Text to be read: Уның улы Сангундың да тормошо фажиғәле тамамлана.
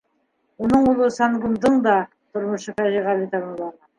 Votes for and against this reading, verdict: 2, 1, accepted